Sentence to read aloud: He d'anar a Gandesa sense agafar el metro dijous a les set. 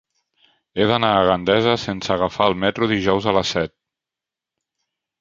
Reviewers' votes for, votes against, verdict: 3, 0, accepted